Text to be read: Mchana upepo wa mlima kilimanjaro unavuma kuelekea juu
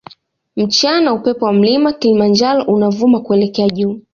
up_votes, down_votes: 2, 0